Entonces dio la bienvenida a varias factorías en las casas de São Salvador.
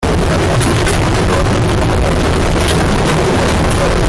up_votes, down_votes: 0, 3